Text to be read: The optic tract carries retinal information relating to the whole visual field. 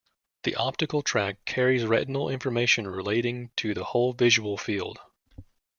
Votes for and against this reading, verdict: 0, 2, rejected